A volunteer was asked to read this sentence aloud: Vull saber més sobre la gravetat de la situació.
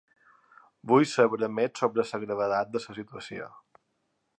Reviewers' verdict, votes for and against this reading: rejected, 0, 3